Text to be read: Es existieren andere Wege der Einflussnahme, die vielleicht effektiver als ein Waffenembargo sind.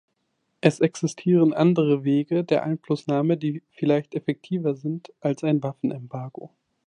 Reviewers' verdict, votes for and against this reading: rejected, 0, 3